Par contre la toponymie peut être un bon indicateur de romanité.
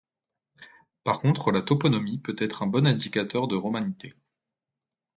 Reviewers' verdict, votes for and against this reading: rejected, 1, 2